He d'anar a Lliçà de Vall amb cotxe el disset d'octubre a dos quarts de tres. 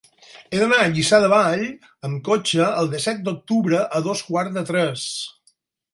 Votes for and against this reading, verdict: 4, 0, accepted